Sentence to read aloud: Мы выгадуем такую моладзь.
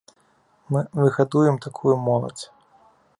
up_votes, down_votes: 0, 2